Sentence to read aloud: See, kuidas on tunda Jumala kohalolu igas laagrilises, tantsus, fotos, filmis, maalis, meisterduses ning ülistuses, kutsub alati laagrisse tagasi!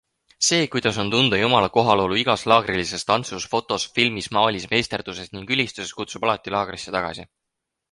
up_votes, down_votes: 4, 0